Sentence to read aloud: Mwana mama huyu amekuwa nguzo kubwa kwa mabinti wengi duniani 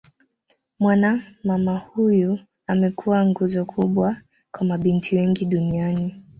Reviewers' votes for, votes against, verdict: 2, 0, accepted